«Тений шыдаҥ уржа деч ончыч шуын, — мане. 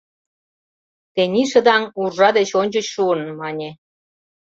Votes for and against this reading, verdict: 2, 0, accepted